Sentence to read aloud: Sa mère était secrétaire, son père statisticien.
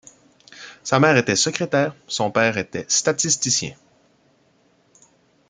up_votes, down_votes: 0, 2